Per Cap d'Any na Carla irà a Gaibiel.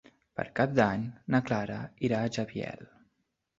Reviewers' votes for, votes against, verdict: 0, 2, rejected